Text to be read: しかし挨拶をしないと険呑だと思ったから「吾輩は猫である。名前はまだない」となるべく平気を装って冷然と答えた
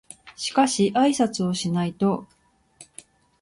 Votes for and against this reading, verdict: 0, 2, rejected